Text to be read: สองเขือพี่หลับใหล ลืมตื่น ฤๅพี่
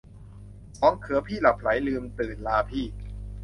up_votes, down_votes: 1, 2